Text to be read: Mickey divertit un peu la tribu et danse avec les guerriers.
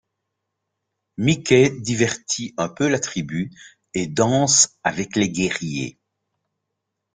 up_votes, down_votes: 2, 0